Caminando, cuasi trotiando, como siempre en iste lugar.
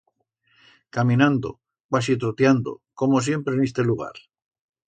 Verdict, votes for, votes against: accepted, 2, 0